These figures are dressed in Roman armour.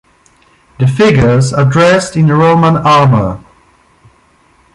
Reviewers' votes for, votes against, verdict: 1, 2, rejected